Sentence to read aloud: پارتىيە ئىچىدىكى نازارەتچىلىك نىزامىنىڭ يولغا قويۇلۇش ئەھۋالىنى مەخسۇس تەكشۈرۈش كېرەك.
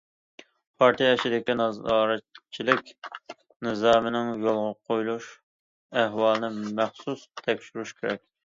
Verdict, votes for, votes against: rejected, 1, 2